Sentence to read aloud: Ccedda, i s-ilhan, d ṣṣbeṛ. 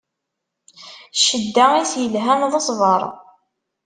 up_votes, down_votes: 1, 2